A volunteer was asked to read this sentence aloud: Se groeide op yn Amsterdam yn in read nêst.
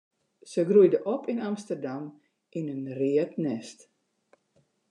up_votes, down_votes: 2, 0